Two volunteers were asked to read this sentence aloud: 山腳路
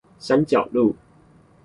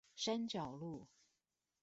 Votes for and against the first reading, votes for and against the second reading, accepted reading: 4, 0, 1, 2, first